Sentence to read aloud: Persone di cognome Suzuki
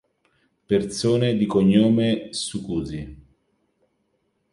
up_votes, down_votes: 0, 3